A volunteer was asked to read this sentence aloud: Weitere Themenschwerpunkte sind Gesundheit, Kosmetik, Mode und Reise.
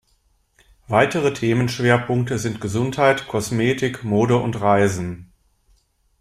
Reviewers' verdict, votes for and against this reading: rejected, 0, 2